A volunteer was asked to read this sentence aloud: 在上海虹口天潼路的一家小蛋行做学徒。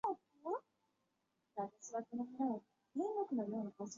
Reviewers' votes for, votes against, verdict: 0, 4, rejected